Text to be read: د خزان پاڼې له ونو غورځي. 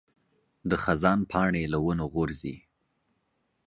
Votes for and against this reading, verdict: 2, 0, accepted